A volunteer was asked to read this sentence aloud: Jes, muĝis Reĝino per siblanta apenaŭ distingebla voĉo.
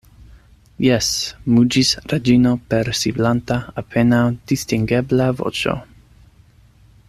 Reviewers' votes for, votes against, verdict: 2, 0, accepted